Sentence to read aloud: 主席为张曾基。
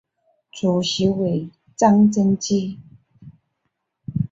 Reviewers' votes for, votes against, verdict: 2, 0, accepted